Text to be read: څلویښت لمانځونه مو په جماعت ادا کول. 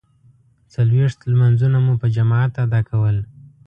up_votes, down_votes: 2, 0